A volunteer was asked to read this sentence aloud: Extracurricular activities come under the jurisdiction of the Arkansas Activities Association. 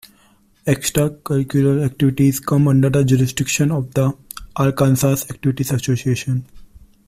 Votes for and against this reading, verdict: 2, 1, accepted